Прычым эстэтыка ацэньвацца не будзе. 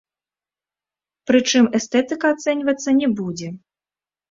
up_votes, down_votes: 0, 2